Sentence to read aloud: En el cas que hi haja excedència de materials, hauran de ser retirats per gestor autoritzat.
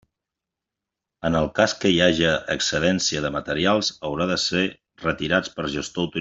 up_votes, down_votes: 0, 2